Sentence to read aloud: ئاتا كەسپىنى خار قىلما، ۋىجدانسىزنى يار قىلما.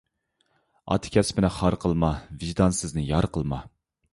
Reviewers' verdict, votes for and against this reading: accepted, 2, 0